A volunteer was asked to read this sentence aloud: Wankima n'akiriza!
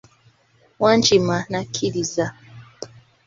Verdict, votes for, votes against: accepted, 2, 0